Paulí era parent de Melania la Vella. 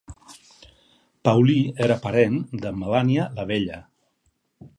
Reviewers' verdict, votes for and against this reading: accepted, 4, 0